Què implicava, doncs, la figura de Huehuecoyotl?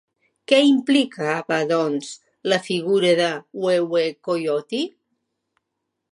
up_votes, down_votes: 2, 0